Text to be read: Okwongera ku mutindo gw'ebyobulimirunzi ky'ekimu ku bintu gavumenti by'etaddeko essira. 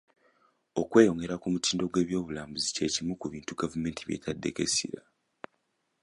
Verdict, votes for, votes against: rejected, 1, 2